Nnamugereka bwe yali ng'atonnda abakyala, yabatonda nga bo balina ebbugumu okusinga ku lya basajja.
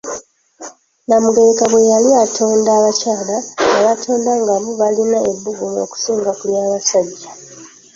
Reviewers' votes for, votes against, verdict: 0, 2, rejected